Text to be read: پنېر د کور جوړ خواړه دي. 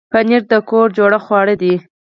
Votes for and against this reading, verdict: 4, 0, accepted